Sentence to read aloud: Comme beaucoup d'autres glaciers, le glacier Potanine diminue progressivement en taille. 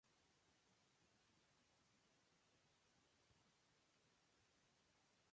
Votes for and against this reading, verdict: 0, 2, rejected